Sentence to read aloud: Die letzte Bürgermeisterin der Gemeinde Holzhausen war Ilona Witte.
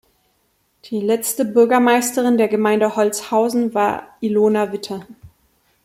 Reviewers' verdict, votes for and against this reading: rejected, 1, 2